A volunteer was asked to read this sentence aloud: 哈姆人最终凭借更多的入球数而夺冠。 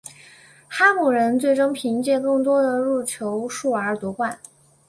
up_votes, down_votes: 4, 0